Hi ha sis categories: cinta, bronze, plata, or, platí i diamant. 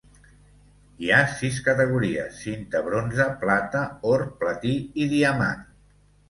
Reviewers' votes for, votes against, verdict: 2, 0, accepted